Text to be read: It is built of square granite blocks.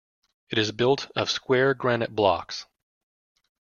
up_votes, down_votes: 2, 0